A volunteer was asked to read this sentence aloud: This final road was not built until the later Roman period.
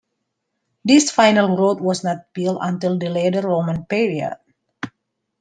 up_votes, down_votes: 1, 2